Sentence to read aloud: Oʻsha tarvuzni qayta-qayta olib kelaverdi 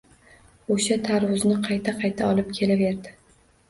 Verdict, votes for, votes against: accepted, 2, 0